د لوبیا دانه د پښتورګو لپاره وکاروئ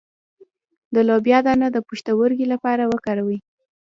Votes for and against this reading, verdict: 2, 0, accepted